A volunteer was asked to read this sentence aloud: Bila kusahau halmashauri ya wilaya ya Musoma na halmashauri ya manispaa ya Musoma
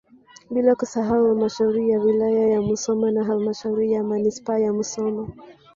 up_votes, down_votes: 2, 3